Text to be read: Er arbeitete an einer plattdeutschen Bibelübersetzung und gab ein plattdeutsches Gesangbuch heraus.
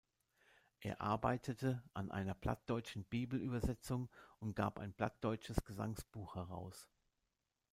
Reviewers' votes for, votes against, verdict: 0, 2, rejected